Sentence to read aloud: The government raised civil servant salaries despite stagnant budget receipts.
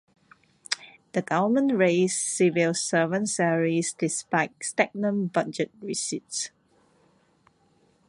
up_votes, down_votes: 2, 0